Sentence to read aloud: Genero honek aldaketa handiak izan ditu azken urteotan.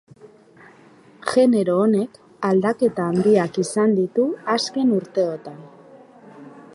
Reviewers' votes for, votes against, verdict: 2, 0, accepted